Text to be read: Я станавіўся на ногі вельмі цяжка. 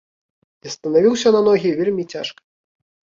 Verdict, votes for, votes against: rejected, 0, 2